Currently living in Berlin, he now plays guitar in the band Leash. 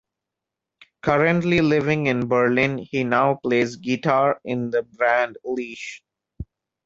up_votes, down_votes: 2, 1